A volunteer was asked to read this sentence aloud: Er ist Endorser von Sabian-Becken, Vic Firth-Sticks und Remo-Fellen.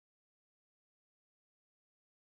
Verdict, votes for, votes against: rejected, 0, 2